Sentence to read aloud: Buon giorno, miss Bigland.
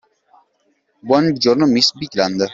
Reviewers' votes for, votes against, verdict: 2, 0, accepted